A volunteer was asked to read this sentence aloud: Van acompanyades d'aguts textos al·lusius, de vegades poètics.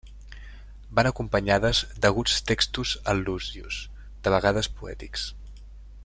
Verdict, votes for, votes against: rejected, 1, 2